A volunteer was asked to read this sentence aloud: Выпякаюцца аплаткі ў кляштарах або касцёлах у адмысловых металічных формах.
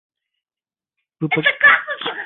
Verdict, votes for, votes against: rejected, 0, 3